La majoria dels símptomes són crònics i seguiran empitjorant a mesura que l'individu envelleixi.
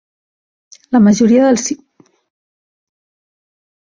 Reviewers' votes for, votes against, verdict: 0, 2, rejected